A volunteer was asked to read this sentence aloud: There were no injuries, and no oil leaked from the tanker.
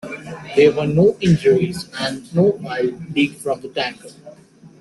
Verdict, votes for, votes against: accepted, 2, 1